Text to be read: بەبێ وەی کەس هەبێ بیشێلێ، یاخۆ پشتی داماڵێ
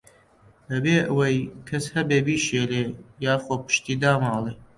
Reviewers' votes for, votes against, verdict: 2, 0, accepted